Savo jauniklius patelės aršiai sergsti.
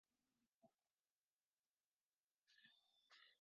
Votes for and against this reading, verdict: 0, 2, rejected